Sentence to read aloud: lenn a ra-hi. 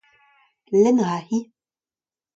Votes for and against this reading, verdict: 2, 0, accepted